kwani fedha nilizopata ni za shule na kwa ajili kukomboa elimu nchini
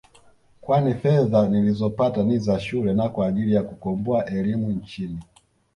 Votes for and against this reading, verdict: 1, 2, rejected